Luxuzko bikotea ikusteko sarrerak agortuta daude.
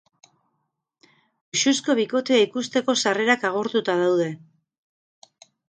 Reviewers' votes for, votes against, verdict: 0, 2, rejected